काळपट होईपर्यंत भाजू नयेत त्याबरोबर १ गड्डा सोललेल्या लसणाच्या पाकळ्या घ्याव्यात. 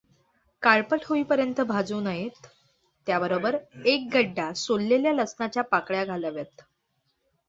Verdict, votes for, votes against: rejected, 0, 2